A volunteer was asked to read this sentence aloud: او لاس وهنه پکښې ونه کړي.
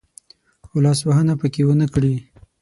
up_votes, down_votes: 6, 0